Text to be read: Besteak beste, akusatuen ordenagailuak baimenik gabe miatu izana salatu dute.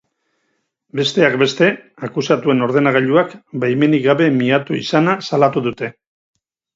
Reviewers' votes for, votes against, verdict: 4, 0, accepted